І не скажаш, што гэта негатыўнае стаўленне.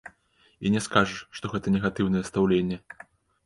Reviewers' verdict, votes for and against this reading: rejected, 1, 2